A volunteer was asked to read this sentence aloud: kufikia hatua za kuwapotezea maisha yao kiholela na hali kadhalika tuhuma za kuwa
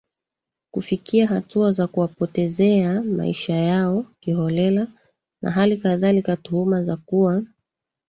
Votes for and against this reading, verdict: 0, 2, rejected